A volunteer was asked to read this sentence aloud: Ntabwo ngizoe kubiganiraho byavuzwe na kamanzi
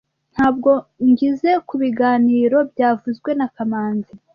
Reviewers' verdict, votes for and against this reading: rejected, 1, 2